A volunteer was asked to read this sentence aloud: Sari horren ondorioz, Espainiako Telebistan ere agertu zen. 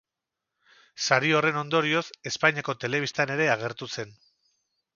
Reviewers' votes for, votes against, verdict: 0, 2, rejected